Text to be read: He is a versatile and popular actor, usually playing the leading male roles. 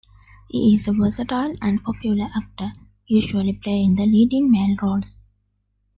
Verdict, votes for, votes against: accepted, 2, 0